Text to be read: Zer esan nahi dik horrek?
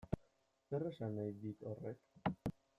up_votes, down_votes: 0, 2